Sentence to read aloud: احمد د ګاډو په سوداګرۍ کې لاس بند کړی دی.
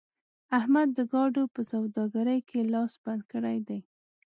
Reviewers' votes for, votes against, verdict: 2, 0, accepted